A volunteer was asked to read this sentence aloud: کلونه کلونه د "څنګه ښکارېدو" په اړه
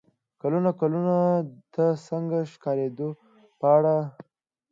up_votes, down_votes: 2, 0